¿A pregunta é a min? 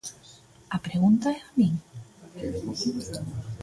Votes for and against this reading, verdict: 3, 0, accepted